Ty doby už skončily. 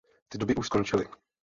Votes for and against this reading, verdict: 0, 2, rejected